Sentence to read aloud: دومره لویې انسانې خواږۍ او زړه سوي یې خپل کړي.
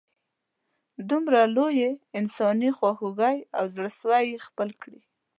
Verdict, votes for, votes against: accepted, 2, 0